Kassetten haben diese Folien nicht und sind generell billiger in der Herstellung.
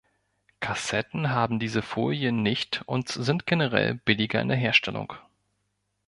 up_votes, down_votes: 1, 2